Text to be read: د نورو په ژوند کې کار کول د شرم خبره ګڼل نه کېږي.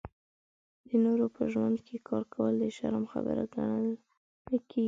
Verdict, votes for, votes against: rejected, 2, 3